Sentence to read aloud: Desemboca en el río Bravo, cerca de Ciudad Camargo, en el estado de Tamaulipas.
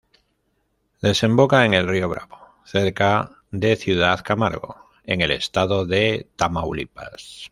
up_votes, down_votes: 1, 2